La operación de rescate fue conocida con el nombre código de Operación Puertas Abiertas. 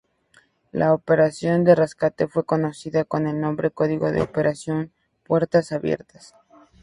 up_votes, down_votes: 2, 0